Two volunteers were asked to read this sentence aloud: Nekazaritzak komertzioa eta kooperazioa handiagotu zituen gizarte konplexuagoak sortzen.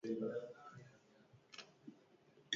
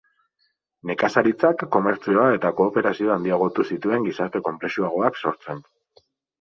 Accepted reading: second